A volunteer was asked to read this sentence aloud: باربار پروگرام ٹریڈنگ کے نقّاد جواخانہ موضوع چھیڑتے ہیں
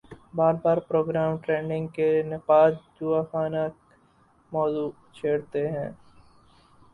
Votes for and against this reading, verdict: 0, 2, rejected